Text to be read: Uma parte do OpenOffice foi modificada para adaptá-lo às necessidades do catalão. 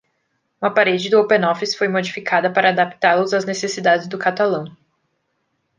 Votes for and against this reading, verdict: 1, 2, rejected